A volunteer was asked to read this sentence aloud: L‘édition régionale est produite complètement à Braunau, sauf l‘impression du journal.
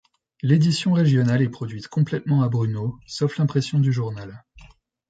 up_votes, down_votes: 1, 2